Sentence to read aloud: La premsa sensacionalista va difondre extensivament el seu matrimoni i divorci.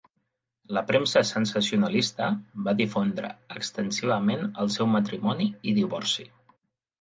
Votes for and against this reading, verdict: 3, 0, accepted